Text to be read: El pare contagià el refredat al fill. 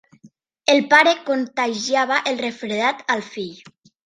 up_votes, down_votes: 0, 2